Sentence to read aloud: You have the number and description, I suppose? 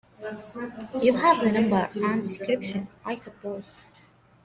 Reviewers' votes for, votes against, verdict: 2, 1, accepted